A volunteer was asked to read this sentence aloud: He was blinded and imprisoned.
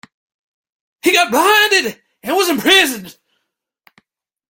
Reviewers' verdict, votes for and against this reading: rejected, 1, 2